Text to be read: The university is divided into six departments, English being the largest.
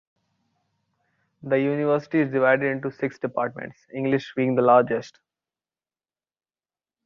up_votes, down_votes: 2, 0